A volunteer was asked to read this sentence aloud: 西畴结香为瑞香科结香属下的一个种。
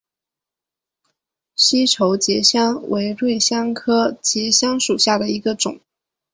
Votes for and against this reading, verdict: 3, 1, accepted